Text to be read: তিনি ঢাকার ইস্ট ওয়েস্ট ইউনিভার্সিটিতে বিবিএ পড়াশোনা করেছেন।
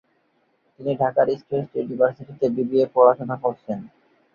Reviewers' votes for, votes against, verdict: 0, 4, rejected